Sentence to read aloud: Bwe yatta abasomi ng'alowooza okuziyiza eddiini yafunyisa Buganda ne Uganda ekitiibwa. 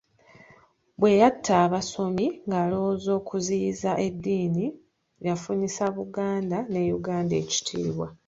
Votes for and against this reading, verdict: 3, 0, accepted